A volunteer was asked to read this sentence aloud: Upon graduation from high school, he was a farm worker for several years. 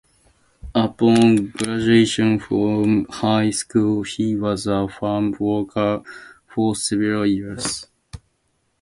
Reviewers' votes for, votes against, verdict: 2, 0, accepted